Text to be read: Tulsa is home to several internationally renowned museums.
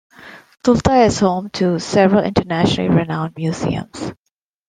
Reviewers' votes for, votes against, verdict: 1, 2, rejected